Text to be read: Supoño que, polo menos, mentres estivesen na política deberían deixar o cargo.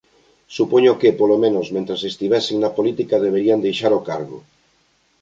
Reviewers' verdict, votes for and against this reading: accepted, 2, 0